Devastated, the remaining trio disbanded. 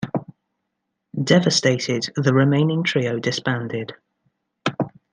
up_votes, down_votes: 2, 0